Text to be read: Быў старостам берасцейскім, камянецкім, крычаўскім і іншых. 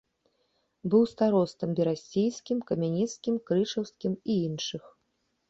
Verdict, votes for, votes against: accepted, 3, 0